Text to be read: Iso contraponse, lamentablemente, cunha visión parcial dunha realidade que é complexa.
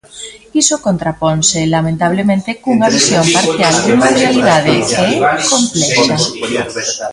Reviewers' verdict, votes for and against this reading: rejected, 0, 3